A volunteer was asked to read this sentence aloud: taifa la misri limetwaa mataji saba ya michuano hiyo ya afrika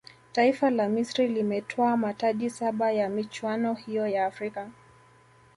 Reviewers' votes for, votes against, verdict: 2, 0, accepted